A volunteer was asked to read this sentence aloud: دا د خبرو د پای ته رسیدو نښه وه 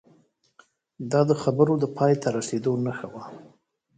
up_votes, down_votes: 2, 1